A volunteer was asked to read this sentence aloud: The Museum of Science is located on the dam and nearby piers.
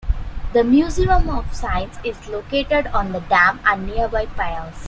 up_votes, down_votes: 0, 2